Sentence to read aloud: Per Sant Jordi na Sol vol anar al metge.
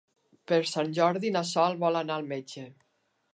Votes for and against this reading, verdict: 2, 0, accepted